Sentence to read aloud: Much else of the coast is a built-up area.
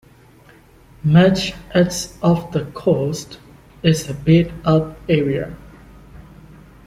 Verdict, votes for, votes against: rejected, 1, 2